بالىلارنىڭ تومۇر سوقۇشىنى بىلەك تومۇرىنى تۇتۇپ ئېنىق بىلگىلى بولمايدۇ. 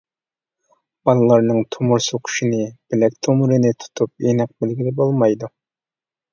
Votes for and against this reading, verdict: 2, 0, accepted